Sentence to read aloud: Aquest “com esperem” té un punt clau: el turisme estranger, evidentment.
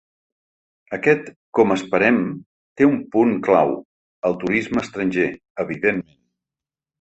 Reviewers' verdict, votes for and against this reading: rejected, 0, 2